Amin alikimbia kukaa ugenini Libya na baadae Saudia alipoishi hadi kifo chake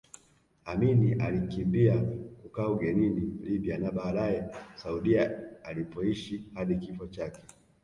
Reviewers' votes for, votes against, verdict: 1, 2, rejected